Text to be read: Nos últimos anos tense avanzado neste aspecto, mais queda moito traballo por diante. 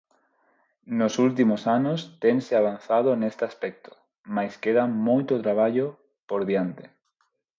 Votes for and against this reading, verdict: 4, 0, accepted